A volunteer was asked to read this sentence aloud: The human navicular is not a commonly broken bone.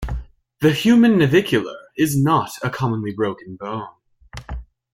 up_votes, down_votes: 2, 0